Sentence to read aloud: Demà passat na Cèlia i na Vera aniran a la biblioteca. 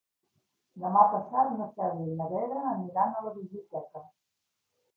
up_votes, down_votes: 2, 0